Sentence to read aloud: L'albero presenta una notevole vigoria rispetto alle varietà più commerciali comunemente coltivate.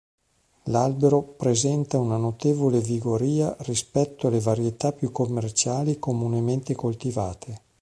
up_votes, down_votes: 4, 0